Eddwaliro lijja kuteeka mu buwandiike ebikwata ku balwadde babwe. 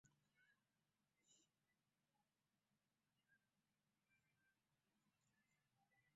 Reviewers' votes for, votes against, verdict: 0, 2, rejected